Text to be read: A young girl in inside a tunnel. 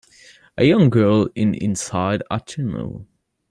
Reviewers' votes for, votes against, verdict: 2, 0, accepted